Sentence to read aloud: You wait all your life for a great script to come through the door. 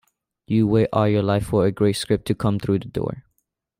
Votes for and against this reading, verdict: 3, 0, accepted